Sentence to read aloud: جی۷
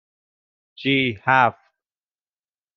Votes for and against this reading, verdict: 0, 2, rejected